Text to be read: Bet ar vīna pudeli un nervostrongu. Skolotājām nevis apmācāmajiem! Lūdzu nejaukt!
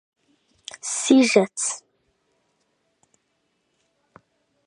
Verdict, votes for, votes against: rejected, 0, 3